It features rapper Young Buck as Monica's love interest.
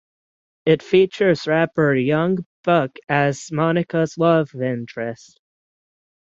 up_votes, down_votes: 6, 0